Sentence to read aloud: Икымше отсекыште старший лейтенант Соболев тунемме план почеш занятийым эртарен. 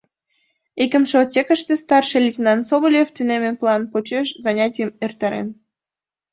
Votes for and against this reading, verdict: 2, 0, accepted